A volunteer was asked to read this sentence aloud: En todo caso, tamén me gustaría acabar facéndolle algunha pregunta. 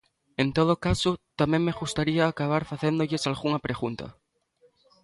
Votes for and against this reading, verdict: 1, 2, rejected